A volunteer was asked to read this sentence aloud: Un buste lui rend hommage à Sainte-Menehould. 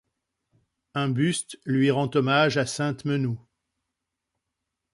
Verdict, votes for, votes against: rejected, 0, 2